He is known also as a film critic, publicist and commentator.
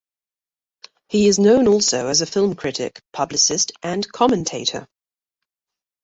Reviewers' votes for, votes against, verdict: 2, 0, accepted